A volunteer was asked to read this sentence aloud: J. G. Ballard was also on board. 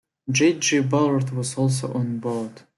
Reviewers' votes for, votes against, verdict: 2, 0, accepted